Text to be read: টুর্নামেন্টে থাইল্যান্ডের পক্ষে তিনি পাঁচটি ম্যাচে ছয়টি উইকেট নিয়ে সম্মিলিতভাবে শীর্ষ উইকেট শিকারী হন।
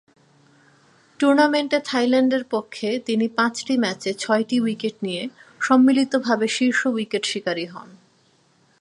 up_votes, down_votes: 31, 3